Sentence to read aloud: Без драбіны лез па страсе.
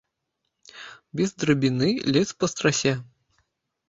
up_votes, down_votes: 0, 2